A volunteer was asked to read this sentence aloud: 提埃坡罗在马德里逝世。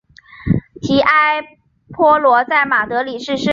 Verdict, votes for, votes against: accepted, 2, 0